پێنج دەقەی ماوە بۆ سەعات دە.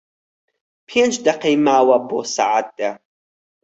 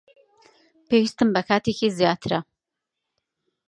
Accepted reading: first